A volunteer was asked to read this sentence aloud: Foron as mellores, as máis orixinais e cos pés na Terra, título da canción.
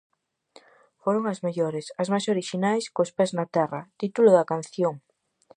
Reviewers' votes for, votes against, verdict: 0, 4, rejected